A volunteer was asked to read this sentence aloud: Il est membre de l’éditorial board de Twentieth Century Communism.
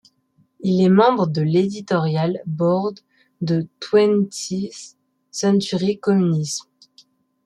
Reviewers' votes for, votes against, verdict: 1, 2, rejected